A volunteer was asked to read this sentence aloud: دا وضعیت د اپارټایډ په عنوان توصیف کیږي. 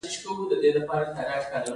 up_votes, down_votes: 2, 1